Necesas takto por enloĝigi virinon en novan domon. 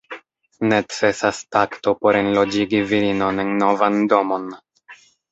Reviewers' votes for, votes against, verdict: 2, 1, accepted